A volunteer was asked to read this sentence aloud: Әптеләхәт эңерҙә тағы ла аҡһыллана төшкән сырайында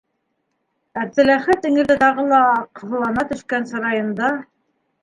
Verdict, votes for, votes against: accepted, 2, 1